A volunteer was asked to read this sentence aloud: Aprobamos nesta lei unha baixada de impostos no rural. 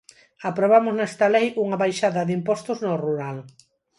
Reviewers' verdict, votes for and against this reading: accepted, 4, 0